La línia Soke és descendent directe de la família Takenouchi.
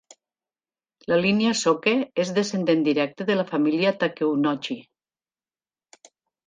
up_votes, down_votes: 1, 2